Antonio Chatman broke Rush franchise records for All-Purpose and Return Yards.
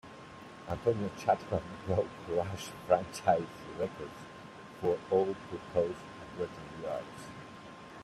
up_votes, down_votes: 2, 0